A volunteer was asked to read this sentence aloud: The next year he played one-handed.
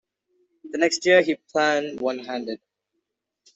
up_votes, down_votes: 1, 2